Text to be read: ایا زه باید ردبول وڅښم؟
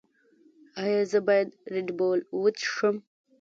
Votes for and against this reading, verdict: 1, 2, rejected